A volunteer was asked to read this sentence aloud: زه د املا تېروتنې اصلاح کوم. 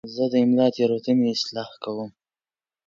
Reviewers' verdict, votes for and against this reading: accepted, 3, 0